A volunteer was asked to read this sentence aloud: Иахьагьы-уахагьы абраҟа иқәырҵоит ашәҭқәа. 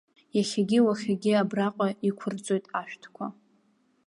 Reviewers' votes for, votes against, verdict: 2, 0, accepted